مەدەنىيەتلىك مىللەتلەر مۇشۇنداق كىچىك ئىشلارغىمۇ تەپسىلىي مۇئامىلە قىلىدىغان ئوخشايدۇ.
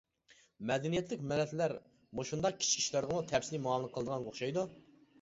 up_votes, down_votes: 0, 2